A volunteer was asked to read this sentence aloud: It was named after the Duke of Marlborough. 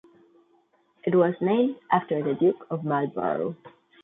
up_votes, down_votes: 2, 0